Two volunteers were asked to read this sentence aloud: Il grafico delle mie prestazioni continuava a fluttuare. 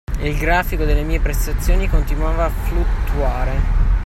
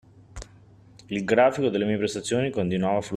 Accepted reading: first